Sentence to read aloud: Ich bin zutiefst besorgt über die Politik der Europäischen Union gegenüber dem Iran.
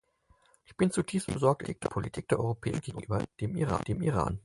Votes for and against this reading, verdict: 0, 4, rejected